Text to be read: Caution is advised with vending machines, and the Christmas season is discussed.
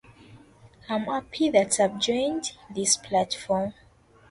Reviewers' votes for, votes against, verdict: 0, 2, rejected